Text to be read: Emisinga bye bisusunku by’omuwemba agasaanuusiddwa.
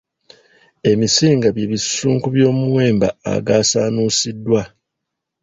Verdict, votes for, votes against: rejected, 1, 2